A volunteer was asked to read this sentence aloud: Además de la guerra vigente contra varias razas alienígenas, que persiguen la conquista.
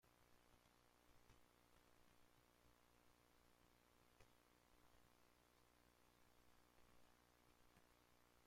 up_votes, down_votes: 0, 2